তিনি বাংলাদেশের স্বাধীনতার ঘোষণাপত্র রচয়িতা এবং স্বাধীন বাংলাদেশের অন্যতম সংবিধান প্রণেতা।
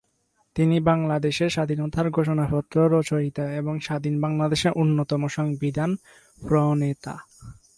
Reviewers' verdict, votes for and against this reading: accepted, 8, 4